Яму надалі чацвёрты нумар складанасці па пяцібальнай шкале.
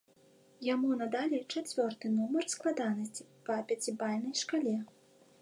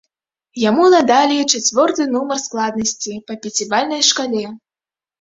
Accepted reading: first